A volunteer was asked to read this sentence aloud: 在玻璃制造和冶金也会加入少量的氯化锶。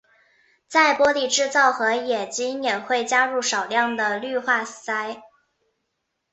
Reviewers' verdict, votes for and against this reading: accepted, 2, 0